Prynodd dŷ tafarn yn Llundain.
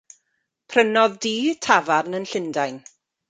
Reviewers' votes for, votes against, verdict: 2, 0, accepted